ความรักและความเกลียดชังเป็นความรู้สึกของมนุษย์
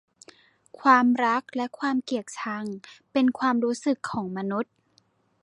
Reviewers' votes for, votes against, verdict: 2, 0, accepted